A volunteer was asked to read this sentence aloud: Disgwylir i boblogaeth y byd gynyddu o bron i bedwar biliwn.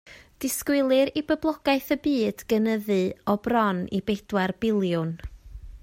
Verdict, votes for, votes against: accepted, 2, 0